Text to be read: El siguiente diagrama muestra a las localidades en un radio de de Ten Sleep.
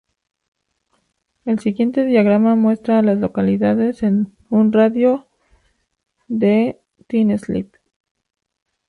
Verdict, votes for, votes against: rejected, 2, 4